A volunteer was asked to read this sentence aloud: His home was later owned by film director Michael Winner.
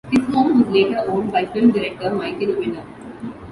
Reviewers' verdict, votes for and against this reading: rejected, 0, 2